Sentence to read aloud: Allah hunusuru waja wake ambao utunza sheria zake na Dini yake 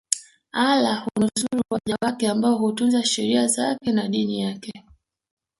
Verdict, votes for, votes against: rejected, 0, 2